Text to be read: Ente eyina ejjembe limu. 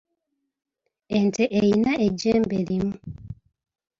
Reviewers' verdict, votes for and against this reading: accepted, 2, 1